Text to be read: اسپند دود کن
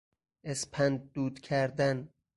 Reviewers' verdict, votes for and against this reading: rejected, 0, 4